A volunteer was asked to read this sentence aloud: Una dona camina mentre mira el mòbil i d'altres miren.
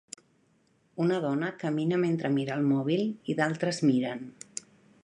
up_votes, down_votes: 4, 0